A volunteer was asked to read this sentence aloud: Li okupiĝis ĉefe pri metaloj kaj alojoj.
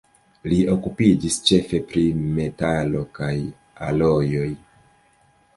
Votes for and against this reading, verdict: 0, 2, rejected